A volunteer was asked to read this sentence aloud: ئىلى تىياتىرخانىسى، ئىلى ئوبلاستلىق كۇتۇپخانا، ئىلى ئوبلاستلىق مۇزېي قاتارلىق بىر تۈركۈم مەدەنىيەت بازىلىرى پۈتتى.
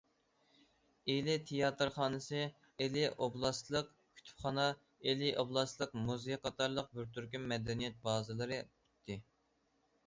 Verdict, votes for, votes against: accepted, 2, 0